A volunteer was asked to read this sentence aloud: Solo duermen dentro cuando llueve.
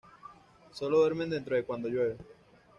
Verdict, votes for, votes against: rejected, 1, 2